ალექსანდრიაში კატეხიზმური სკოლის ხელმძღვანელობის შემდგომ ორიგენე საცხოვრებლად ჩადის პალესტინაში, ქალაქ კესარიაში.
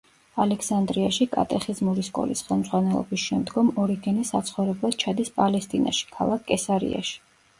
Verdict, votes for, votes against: accepted, 2, 0